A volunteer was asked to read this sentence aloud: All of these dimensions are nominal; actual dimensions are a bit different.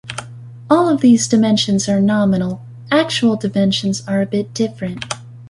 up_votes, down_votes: 2, 0